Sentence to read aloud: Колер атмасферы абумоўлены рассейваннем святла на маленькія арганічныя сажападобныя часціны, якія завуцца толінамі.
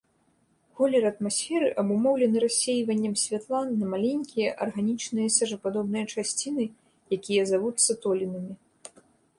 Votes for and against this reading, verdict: 2, 0, accepted